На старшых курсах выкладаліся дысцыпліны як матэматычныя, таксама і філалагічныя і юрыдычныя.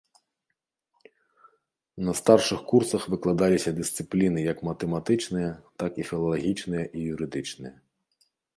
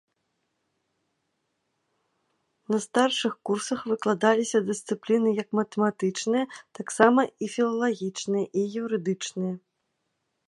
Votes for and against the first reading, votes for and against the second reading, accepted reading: 0, 2, 2, 0, second